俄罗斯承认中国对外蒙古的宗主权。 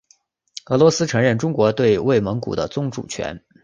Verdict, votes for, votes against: accepted, 6, 0